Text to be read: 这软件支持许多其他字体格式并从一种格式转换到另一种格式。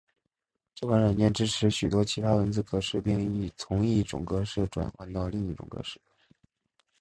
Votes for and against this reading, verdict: 3, 1, accepted